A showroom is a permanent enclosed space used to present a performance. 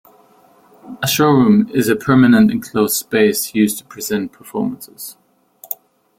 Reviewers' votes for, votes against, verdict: 0, 2, rejected